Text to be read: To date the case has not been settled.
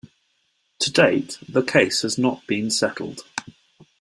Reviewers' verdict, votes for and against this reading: accepted, 2, 0